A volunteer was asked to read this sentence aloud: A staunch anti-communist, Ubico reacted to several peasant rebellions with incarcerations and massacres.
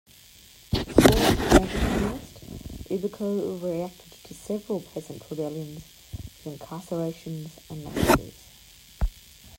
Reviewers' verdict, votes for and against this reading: rejected, 0, 2